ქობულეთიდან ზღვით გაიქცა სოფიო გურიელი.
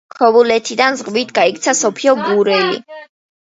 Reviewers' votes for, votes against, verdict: 0, 2, rejected